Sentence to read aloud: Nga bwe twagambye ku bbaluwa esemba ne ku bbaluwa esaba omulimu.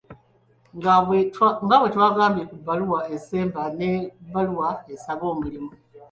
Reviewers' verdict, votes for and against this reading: rejected, 1, 2